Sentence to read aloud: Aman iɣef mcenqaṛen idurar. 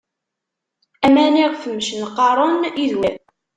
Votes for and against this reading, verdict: 0, 2, rejected